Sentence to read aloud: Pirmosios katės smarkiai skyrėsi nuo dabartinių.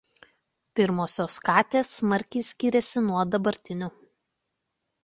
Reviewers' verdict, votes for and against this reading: accepted, 2, 0